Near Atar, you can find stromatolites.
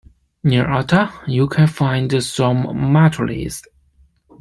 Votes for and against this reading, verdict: 2, 1, accepted